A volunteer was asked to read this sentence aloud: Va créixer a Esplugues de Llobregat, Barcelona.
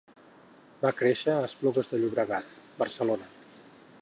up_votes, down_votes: 2, 4